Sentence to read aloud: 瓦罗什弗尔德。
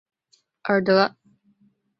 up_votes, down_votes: 1, 3